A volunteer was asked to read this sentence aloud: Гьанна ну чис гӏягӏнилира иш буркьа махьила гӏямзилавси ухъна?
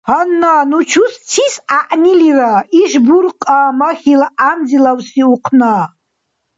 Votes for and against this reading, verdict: 0, 2, rejected